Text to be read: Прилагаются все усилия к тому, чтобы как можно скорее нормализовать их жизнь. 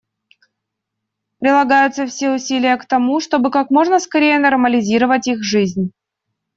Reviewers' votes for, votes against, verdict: 0, 2, rejected